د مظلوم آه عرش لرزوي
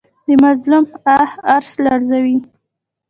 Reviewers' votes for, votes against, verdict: 2, 0, accepted